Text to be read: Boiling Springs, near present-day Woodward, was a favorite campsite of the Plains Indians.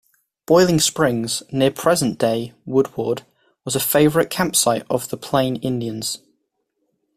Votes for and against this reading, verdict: 0, 2, rejected